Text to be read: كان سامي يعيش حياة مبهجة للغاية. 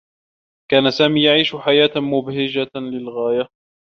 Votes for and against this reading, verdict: 3, 0, accepted